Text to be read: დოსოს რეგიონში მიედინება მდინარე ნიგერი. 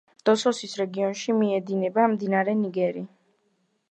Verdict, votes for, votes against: accepted, 2, 1